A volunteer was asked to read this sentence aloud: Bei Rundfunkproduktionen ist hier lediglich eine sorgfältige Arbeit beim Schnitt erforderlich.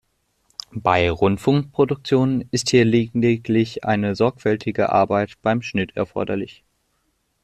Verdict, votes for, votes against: accepted, 2, 1